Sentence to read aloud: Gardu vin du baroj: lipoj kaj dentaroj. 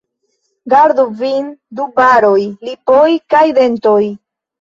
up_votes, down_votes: 1, 3